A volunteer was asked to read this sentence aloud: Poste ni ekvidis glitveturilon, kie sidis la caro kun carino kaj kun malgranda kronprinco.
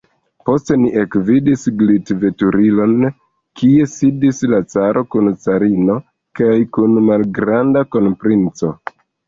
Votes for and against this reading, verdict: 1, 2, rejected